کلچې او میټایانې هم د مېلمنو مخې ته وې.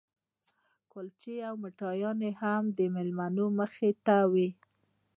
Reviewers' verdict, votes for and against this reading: accepted, 2, 0